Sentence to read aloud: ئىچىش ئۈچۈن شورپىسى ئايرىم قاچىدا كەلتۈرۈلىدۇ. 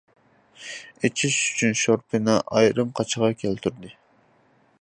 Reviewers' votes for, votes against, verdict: 0, 2, rejected